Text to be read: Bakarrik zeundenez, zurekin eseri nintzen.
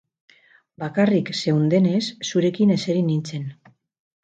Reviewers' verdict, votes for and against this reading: accepted, 4, 0